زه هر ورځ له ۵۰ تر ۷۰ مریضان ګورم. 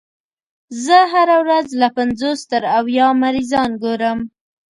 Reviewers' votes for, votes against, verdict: 0, 2, rejected